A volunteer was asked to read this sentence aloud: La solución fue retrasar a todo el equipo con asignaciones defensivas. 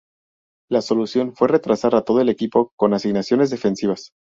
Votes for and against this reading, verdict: 2, 0, accepted